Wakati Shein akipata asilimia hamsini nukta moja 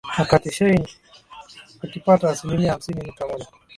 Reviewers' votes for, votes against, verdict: 2, 3, rejected